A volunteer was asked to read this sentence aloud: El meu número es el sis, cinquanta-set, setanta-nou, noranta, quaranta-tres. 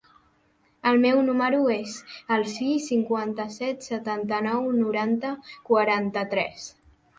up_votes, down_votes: 3, 0